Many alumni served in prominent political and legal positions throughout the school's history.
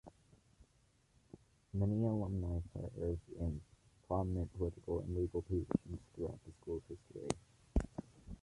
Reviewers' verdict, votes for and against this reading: accepted, 2, 0